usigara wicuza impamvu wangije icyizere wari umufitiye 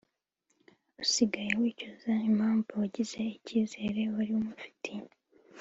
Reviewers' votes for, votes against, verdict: 3, 0, accepted